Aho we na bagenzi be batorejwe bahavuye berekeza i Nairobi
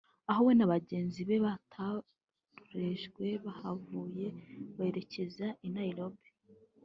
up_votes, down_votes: 1, 2